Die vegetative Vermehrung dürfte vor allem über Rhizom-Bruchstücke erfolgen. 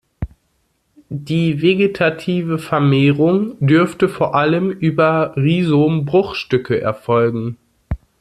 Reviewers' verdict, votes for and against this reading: accepted, 2, 0